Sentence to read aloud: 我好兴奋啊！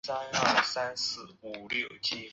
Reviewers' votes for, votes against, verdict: 0, 3, rejected